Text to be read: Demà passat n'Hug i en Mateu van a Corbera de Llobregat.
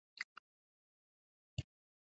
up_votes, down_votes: 0, 3